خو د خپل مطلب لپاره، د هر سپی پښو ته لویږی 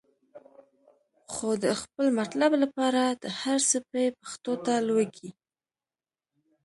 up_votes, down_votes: 1, 2